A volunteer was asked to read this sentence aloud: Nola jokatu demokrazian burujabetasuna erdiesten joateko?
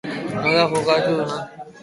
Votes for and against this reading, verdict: 0, 2, rejected